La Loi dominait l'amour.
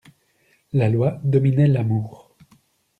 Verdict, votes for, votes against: accepted, 2, 0